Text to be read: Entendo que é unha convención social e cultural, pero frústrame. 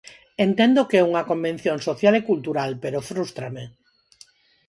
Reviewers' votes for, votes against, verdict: 4, 0, accepted